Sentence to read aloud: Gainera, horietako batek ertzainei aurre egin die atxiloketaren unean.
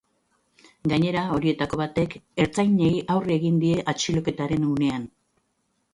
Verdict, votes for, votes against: accepted, 3, 0